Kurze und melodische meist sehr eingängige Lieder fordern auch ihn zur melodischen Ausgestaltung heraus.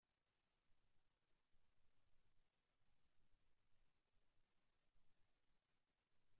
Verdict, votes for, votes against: rejected, 0, 2